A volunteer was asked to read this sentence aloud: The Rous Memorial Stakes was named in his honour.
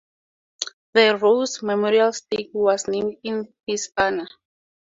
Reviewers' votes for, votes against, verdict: 2, 0, accepted